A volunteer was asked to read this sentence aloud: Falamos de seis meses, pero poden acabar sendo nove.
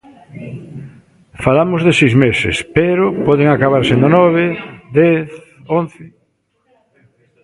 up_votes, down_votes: 0, 2